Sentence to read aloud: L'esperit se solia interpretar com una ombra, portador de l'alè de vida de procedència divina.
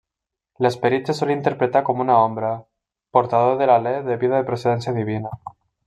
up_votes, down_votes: 2, 0